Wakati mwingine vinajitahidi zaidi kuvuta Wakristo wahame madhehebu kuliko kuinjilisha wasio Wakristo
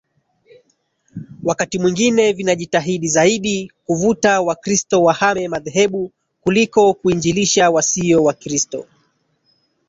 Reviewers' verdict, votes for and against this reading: rejected, 1, 2